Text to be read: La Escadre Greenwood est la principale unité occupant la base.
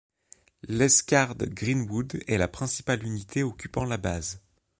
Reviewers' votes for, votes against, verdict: 1, 3, rejected